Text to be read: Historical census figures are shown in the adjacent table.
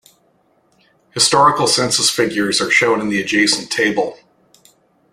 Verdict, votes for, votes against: accepted, 2, 0